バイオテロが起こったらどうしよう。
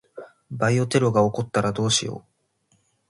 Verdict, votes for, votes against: accepted, 2, 0